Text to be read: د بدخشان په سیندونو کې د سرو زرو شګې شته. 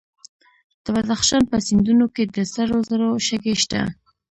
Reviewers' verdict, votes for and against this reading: rejected, 1, 2